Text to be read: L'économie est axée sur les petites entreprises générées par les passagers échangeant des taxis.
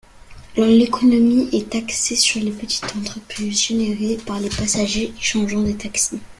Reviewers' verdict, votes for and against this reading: rejected, 1, 2